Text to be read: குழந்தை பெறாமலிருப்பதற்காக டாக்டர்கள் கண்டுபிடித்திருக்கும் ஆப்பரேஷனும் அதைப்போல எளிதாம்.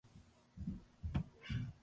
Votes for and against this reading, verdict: 0, 2, rejected